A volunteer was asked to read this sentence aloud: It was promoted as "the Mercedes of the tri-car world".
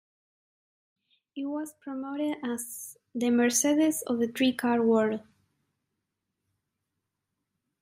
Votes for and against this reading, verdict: 2, 1, accepted